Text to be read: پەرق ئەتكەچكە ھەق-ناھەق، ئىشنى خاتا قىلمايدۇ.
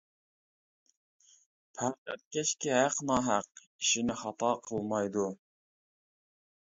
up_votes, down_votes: 1, 2